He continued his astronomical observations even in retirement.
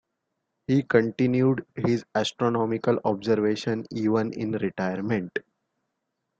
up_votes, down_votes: 3, 0